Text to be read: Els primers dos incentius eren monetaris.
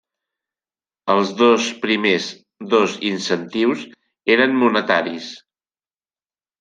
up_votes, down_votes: 0, 2